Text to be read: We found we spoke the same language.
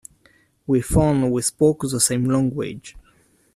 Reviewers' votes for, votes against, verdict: 0, 2, rejected